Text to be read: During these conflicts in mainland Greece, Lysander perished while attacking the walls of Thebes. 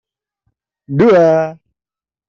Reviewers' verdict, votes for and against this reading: rejected, 0, 2